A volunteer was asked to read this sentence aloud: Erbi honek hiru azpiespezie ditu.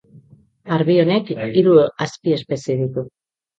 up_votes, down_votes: 1, 2